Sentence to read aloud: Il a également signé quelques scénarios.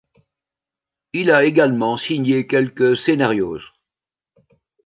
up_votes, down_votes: 1, 2